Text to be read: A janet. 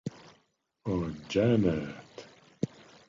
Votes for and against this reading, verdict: 1, 2, rejected